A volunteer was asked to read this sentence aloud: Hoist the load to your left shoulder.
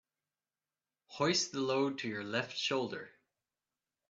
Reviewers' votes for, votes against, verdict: 2, 0, accepted